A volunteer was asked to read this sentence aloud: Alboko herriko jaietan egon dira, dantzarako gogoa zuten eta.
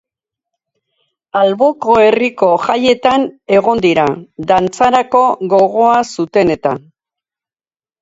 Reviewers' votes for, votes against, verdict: 2, 0, accepted